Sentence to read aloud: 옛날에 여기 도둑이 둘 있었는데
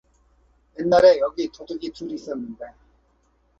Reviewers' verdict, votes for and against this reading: accepted, 4, 0